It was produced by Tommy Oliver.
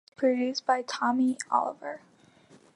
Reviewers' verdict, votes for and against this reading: rejected, 0, 2